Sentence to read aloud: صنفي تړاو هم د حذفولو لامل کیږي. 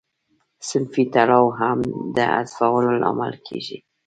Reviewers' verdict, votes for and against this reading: accepted, 2, 0